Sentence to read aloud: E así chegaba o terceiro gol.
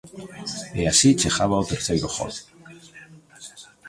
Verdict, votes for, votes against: rejected, 0, 2